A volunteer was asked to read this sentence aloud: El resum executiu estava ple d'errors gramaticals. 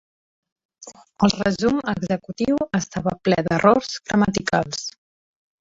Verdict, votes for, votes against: rejected, 1, 2